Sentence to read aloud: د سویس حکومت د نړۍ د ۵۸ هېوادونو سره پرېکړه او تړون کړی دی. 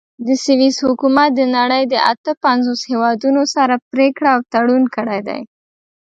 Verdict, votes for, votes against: rejected, 0, 2